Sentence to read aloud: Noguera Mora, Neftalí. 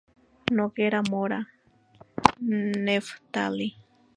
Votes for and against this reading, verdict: 2, 0, accepted